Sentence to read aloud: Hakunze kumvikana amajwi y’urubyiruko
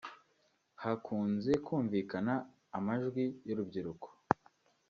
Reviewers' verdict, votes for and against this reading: accepted, 2, 1